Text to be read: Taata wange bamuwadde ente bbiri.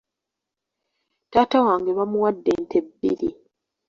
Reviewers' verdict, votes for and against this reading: accepted, 2, 0